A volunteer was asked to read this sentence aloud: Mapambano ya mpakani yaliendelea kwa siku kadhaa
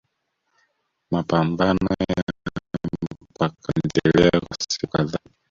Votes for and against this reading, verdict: 0, 2, rejected